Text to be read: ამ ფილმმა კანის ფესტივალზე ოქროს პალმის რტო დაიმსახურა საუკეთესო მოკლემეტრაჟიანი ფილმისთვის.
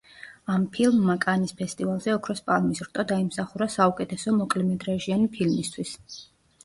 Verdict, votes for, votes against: accepted, 2, 0